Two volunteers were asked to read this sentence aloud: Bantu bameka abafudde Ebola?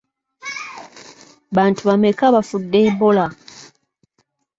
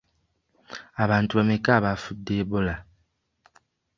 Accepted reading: first